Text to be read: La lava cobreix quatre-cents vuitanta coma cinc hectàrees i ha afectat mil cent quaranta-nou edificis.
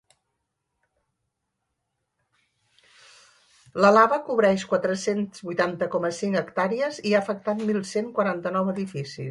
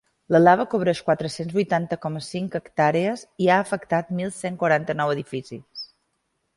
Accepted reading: second